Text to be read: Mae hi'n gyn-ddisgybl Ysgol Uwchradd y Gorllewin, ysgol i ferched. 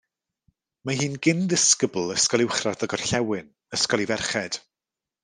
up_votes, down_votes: 2, 0